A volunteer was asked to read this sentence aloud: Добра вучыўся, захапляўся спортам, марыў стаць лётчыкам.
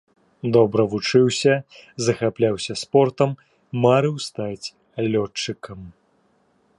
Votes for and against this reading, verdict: 2, 0, accepted